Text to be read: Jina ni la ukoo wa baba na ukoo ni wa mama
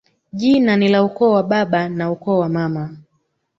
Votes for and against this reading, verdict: 2, 1, accepted